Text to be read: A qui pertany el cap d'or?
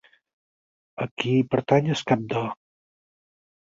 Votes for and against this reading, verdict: 2, 4, rejected